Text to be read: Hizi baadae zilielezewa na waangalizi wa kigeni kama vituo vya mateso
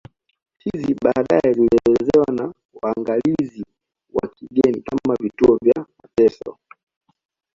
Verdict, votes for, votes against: accepted, 2, 0